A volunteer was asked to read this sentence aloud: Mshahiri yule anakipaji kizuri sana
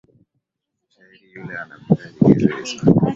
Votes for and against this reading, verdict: 0, 2, rejected